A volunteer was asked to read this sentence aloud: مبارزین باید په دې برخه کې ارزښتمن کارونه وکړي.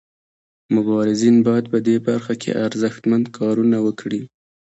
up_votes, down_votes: 0, 2